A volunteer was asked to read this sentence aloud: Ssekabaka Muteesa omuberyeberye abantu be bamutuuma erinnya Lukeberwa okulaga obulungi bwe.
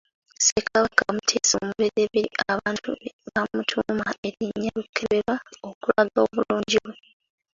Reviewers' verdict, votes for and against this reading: rejected, 0, 2